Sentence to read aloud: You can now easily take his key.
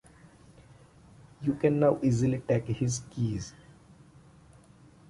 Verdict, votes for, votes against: rejected, 1, 2